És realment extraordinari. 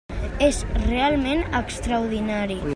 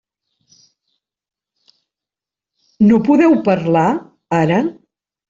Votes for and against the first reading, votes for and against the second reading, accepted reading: 3, 0, 0, 2, first